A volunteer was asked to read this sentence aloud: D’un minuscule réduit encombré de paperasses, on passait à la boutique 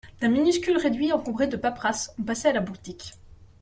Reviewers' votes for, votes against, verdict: 2, 0, accepted